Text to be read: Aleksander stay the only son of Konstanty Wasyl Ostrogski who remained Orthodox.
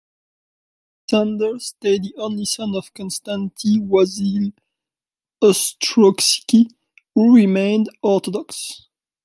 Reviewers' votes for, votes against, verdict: 1, 2, rejected